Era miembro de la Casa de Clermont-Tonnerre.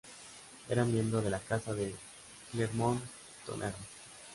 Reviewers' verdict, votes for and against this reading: rejected, 1, 2